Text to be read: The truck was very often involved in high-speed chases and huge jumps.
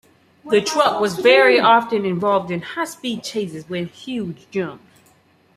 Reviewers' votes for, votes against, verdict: 2, 0, accepted